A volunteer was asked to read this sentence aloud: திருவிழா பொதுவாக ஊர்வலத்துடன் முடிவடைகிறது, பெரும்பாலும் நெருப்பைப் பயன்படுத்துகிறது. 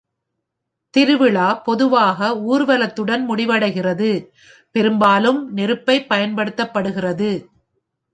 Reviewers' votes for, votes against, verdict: 2, 0, accepted